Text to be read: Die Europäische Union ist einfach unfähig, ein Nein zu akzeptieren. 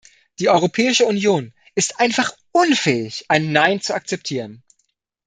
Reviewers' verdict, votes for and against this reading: accepted, 2, 0